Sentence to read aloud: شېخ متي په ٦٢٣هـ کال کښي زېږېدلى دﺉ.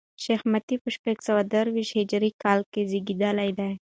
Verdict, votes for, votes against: rejected, 0, 2